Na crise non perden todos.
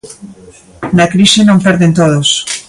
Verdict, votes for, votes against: accepted, 2, 0